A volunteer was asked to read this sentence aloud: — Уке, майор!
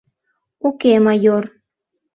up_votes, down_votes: 2, 0